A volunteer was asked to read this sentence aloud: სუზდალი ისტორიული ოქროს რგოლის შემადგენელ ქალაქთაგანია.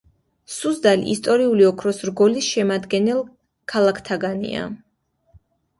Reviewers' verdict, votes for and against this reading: accepted, 2, 0